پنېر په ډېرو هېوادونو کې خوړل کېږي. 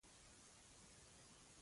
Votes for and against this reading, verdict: 0, 2, rejected